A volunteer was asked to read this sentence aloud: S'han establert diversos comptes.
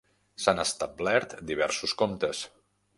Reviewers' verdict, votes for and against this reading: accepted, 2, 0